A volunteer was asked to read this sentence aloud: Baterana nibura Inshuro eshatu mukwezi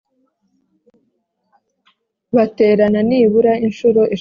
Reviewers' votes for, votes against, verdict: 0, 3, rejected